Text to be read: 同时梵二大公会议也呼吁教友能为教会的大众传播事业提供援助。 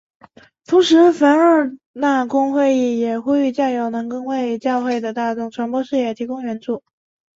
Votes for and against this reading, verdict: 1, 2, rejected